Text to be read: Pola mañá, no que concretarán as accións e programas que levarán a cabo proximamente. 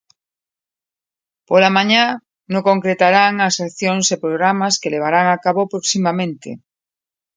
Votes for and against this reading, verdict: 0, 2, rejected